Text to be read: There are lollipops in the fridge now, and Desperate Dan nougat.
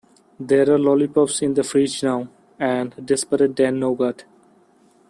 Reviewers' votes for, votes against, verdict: 1, 2, rejected